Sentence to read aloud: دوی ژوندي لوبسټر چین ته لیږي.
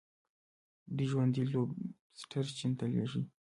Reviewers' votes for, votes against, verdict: 1, 2, rejected